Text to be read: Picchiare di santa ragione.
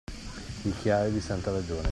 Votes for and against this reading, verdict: 2, 0, accepted